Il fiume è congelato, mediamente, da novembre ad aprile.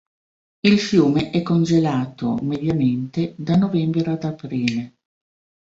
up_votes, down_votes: 2, 0